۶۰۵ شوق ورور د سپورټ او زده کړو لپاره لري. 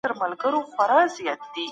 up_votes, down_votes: 0, 2